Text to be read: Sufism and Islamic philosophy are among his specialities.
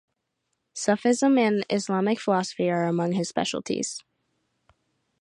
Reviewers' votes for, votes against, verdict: 2, 0, accepted